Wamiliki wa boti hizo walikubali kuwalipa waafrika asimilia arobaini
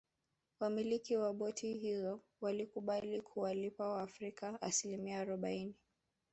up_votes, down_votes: 0, 2